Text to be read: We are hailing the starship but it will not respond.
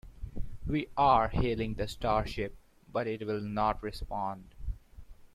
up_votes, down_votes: 2, 0